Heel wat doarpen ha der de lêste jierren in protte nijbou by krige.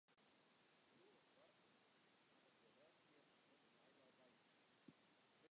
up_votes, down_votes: 0, 2